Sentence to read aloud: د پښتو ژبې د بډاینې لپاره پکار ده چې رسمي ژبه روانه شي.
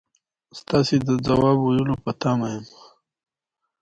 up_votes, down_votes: 2, 0